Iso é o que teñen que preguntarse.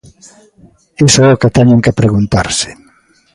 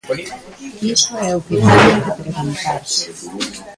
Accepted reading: first